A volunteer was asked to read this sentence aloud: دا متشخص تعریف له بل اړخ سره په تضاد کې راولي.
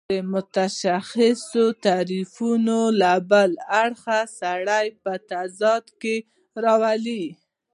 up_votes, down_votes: 1, 2